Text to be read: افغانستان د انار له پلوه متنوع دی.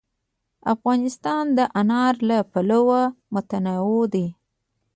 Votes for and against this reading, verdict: 1, 2, rejected